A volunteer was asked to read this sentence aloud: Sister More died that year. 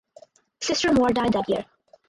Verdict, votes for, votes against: accepted, 4, 0